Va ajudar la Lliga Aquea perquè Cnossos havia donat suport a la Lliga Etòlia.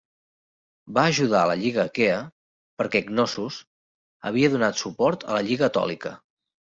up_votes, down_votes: 1, 2